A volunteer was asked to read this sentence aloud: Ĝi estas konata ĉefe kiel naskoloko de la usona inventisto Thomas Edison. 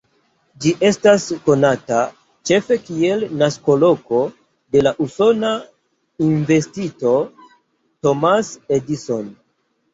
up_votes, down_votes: 2, 0